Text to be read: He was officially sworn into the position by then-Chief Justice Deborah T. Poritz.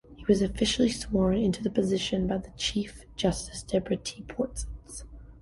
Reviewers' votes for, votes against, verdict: 1, 2, rejected